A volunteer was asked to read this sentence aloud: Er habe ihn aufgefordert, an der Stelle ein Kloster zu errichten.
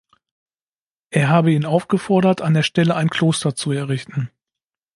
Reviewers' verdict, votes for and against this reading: accepted, 2, 0